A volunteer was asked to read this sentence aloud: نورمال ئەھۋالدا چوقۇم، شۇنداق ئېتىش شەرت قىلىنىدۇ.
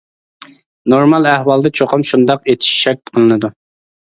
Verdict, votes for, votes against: accepted, 2, 0